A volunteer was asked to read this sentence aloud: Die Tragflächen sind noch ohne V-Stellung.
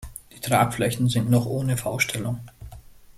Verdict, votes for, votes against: accepted, 2, 0